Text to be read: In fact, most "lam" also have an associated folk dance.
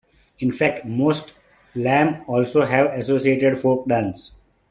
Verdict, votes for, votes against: rejected, 0, 2